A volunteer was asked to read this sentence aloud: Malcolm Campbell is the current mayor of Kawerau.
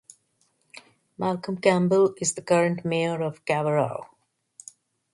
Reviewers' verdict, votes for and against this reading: accepted, 2, 1